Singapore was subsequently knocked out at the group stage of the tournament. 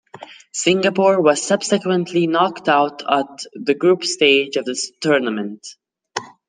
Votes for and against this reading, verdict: 1, 2, rejected